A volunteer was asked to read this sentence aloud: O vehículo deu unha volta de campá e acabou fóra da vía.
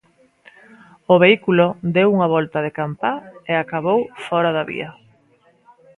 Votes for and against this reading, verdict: 2, 0, accepted